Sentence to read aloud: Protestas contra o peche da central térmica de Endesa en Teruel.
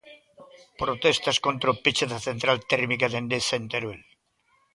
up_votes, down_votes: 2, 0